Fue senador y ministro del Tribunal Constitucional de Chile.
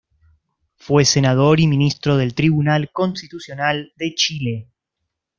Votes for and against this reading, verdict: 2, 0, accepted